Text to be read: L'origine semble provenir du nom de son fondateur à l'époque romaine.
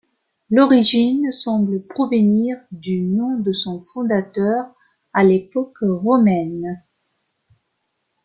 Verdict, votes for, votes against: accepted, 2, 1